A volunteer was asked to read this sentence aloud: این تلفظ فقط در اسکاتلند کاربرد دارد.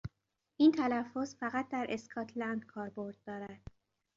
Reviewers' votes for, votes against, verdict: 2, 0, accepted